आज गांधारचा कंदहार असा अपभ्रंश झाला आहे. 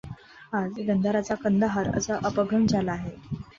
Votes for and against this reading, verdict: 2, 0, accepted